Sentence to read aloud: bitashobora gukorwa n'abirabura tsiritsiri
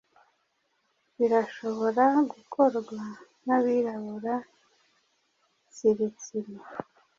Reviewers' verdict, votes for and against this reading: rejected, 1, 2